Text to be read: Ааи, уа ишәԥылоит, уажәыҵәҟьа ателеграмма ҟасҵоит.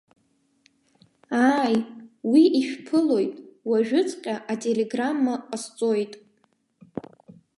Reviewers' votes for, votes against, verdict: 0, 2, rejected